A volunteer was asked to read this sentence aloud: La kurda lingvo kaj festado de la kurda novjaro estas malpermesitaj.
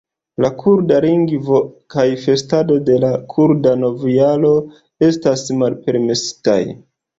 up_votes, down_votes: 2, 0